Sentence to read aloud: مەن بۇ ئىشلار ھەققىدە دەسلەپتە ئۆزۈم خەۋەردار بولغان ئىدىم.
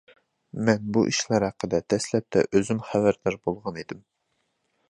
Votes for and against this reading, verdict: 2, 0, accepted